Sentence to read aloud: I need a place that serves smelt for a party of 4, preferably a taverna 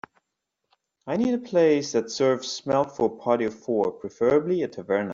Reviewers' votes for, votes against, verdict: 0, 2, rejected